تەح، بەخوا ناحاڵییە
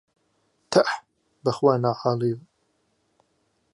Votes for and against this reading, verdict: 3, 0, accepted